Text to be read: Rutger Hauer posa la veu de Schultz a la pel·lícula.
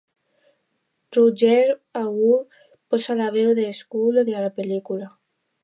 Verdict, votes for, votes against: rejected, 0, 2